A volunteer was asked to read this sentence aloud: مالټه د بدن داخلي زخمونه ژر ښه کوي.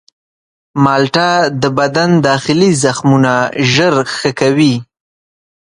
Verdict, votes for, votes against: accepted, 6, 0